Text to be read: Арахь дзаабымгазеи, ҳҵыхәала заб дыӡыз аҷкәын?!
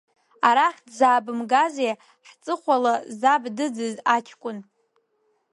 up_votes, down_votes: 2, 0